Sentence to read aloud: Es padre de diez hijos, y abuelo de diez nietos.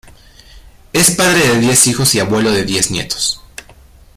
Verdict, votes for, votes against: accepted, 2, 0